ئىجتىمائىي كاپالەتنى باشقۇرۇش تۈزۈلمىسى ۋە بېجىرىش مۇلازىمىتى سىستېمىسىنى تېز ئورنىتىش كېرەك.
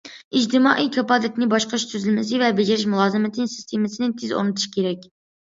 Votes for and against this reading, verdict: 2, 0, accepted